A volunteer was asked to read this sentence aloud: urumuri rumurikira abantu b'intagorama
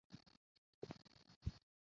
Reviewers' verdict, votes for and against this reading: rejected, 0, 2